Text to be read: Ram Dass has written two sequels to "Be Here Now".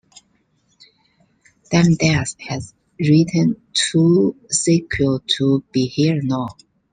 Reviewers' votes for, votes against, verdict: 2, 1, accepted